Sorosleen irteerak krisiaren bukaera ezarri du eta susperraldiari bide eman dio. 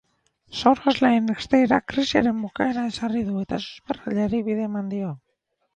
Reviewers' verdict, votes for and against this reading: accepted, 4, 2